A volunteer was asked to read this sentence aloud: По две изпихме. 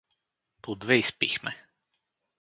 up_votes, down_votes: 2, 2